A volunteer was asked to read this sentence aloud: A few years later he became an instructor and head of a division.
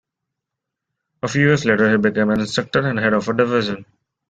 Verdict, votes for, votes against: rejected, 0, 2